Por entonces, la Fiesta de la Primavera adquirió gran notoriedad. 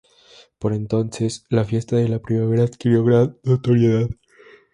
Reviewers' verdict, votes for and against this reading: rejected, 2, 2